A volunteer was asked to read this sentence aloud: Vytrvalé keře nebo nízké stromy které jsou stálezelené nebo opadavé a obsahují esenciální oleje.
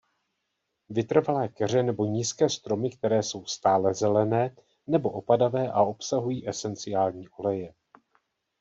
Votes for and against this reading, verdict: 2, 0, accepted